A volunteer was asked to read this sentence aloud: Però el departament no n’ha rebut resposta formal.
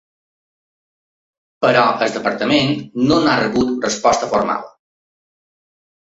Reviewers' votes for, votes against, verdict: 3, 0, accepted